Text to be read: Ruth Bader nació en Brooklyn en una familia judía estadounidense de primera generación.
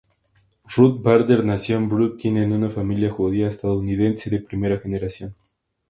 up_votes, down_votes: 2, 0